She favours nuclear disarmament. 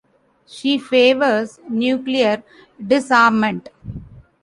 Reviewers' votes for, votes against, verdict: 1, 2, rejected